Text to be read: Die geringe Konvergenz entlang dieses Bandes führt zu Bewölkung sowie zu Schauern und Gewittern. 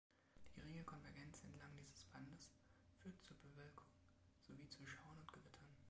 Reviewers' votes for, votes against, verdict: 0, 2, rejected